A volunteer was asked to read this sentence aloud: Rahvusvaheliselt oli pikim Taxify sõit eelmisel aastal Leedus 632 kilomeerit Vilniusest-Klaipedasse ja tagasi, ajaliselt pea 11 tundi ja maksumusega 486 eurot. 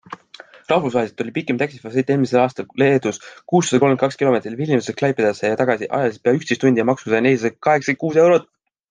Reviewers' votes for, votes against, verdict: 0, 2, rejected